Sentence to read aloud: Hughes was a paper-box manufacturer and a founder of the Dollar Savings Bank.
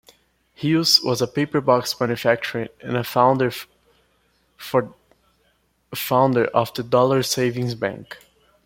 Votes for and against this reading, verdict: 0, 2, rejected